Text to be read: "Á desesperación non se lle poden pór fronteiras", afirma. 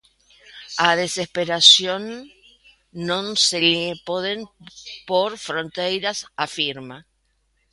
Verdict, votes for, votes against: rejected, 0, 2